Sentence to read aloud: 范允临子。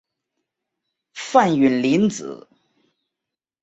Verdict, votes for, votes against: accepted, 3, 0